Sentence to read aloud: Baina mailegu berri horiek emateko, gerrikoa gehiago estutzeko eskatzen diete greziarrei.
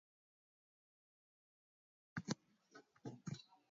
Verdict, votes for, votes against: rejected, 0, 6